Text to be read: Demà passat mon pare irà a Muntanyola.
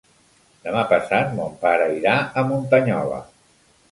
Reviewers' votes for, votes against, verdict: 2, 0, accepted